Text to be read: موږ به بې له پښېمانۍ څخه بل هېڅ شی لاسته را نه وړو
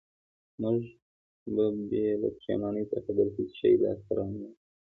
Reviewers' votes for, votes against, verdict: 1, 2, rejected